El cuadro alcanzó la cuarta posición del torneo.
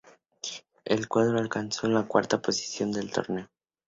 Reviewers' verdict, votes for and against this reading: accepted, 4, 0